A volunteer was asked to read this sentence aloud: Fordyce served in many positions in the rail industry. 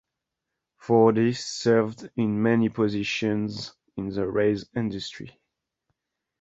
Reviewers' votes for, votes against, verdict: 2, 0, accepted